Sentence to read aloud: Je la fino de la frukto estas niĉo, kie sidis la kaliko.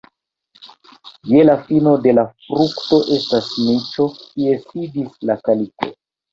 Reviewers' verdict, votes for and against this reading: rejected, 1, 2